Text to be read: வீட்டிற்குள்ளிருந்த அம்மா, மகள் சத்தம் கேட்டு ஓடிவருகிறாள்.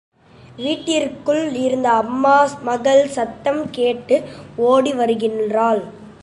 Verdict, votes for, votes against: rejected, 0, 2